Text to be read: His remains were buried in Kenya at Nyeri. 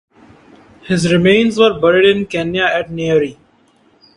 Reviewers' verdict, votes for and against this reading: accepted, 2, 0